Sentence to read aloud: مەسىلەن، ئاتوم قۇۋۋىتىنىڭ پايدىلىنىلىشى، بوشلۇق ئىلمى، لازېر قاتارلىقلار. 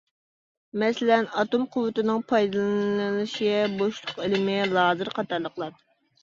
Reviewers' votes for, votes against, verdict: 1, 2, rejected